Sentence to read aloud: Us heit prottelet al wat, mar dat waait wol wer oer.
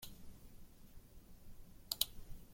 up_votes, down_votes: 0, 2